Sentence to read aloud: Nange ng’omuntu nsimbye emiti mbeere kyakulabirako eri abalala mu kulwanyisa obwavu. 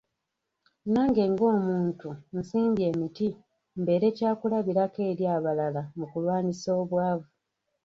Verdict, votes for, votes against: accepted, 2, 0